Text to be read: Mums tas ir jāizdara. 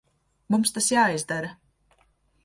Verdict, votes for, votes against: rejected, 0, 2